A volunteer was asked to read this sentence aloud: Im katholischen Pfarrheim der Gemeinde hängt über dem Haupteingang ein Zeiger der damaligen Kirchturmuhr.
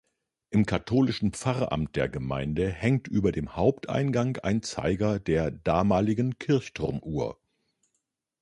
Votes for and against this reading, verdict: 0, 2, rejected